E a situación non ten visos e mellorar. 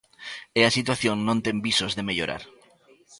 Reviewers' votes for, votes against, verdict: 0, 2, rejected